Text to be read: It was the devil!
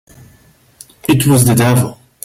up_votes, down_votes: 3, 0